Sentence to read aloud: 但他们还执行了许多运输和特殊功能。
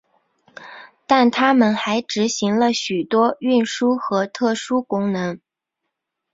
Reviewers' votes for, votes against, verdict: 2, 0, accepted